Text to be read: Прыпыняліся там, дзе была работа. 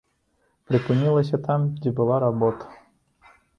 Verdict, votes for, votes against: rejected, 1, 2